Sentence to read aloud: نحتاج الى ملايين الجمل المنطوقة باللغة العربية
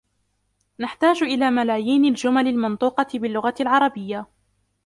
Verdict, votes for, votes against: rejected, 1, 2